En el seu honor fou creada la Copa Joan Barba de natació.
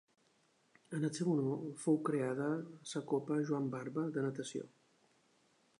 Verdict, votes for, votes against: accepted, 2, 1